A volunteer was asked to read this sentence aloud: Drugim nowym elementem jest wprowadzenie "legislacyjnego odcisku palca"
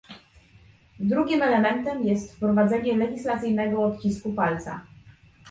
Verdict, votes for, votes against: rejected, 0, 2